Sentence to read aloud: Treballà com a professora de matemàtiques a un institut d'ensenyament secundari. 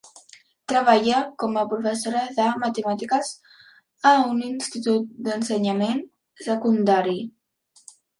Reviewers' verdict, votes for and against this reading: rejected, 1, 2